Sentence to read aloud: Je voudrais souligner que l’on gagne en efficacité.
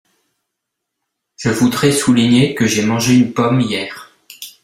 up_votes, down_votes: 0, 2